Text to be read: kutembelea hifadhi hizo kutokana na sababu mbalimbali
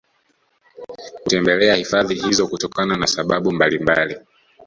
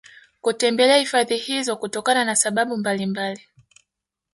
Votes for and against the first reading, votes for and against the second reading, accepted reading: 1, 2, 2, 0, second